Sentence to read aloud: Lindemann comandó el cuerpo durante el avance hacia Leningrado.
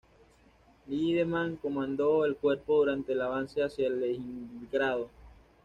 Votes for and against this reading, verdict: 1, 2, rejected